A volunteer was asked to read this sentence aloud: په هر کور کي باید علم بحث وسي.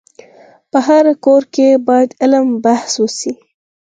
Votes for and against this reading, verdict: 4, 2, accepted